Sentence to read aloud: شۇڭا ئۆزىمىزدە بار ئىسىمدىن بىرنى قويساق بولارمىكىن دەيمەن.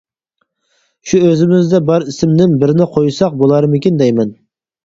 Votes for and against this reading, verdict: 0, 4, rejected